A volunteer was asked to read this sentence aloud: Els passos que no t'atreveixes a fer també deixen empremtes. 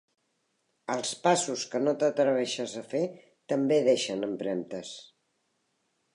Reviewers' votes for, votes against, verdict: 3, 0, accepted